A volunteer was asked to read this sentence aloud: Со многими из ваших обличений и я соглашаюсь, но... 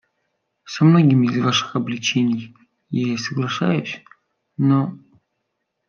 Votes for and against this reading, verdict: 0, 2, rejected